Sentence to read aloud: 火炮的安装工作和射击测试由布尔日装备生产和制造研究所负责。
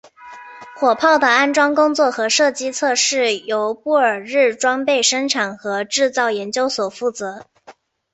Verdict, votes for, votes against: accepted, 2, 0